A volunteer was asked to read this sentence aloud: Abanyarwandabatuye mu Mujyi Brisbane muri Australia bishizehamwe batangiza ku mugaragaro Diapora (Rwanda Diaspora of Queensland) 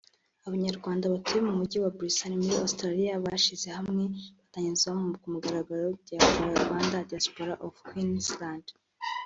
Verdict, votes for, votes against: accepted, 2, 1